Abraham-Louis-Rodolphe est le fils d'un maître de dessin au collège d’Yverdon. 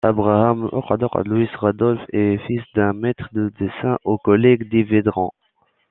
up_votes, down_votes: 0, 3